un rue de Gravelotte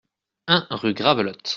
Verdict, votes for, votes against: rejected, 0, 2